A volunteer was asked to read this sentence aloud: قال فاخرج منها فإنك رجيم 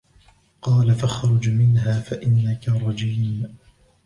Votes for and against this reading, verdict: 1, 2, rejected